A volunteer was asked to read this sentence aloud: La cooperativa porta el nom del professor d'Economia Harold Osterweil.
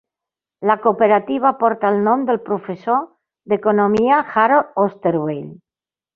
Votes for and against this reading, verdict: 2, 0, accepted